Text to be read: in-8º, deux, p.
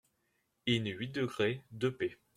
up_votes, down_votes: 0, 2